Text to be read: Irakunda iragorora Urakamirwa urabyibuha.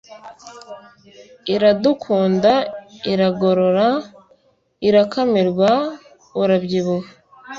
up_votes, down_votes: 0, 2